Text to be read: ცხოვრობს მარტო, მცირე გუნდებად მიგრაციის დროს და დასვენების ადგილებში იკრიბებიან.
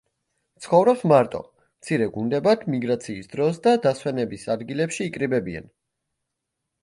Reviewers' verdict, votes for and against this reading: accepted, 2, 0